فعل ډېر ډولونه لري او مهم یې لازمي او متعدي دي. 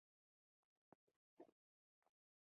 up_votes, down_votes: 1, 2